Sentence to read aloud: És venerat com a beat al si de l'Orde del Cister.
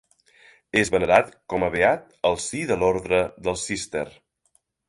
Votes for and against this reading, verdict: 1, 2, rejected